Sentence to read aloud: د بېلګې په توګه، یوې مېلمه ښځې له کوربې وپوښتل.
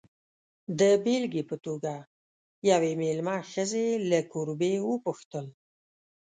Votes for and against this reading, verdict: 2, 0, accepted